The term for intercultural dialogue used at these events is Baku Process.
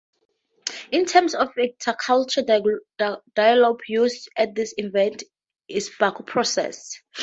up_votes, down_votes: 2, 0